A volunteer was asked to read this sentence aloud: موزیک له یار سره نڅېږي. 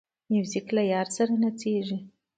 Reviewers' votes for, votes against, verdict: 2, 0, accepted